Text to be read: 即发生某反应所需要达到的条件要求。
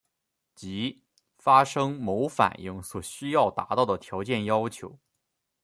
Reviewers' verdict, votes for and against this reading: accepted, 2, 0